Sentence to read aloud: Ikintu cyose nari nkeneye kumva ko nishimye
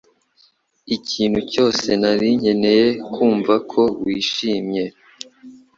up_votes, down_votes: 1, 2